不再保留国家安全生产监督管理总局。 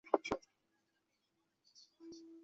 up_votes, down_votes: 1, 3